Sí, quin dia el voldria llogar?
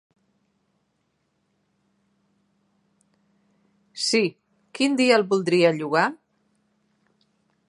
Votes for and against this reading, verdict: 3, 1, accepted